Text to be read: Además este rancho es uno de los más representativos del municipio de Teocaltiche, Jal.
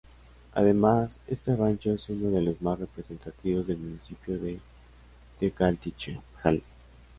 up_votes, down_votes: 0, 2